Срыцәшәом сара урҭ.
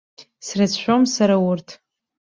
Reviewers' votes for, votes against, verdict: 2, 0, accepted